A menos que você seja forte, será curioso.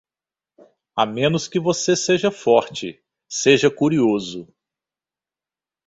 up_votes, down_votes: 0, 2